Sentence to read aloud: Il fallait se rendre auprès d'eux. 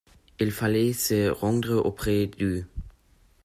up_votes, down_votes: 2, 1